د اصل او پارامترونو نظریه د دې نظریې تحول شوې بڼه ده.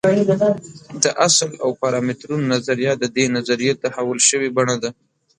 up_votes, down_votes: 2, 0